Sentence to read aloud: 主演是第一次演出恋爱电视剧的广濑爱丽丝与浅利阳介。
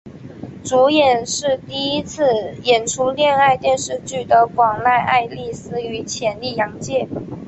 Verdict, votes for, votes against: accepted, 2, 0